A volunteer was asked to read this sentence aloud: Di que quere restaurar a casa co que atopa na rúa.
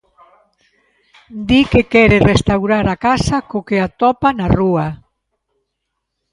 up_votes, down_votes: 2, 0